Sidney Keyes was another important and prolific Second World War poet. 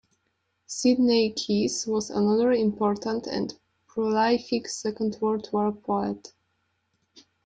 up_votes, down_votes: 0, 2